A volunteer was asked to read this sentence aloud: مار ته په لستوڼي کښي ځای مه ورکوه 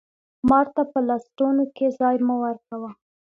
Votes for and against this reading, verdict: 2, 0, accepted